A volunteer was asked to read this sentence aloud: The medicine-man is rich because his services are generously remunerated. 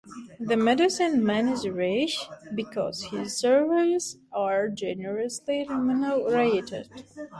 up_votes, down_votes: 0, 2